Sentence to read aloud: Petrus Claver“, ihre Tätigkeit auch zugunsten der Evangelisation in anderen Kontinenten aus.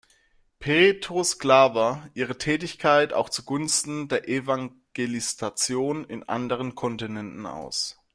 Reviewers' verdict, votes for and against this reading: rejected, 0, 2